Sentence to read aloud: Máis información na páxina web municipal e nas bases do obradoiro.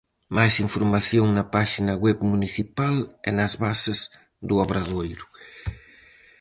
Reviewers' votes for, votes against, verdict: 4, 0, accepted